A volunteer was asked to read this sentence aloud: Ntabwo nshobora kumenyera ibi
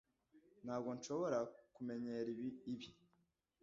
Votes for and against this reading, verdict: 1, 2, rejected